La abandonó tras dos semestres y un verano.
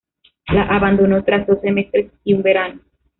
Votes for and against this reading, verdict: 0, 2, rejected